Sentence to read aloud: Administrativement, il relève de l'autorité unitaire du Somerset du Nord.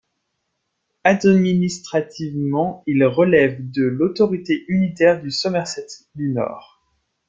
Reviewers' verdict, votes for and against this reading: rejected, 0, 2